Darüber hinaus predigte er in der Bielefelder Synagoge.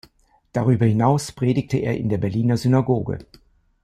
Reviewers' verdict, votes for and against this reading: rejected, 0, 2